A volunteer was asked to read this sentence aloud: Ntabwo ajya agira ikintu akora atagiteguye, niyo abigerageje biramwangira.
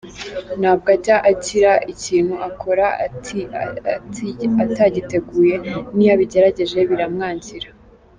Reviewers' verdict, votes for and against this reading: rejected, 1, 2